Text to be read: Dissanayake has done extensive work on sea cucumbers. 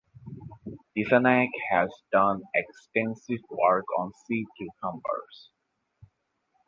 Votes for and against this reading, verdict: 2, 4, rejected